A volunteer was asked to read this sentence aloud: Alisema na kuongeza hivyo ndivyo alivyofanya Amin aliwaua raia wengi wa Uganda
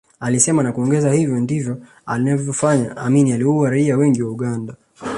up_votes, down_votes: 2, 0